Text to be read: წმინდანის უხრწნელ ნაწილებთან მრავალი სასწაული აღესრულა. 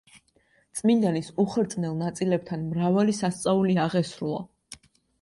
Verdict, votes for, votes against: accepted, 2, 0